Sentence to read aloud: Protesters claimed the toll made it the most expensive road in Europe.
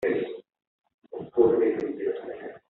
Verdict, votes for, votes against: rejected, 1, 2